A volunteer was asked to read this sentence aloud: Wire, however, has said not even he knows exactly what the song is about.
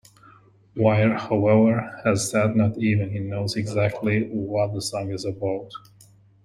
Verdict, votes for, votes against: accepted, 2, 0